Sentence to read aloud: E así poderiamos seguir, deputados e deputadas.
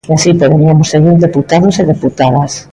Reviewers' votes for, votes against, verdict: 1, 2, rejected